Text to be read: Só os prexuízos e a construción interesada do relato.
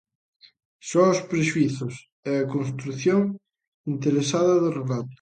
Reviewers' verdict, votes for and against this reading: accepted, 3, 0